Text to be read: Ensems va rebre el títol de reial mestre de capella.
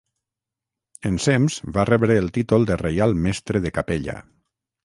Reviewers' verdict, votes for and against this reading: accepted, 6, 0